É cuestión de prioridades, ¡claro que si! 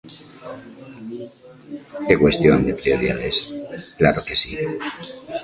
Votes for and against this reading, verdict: 1, 2, rejected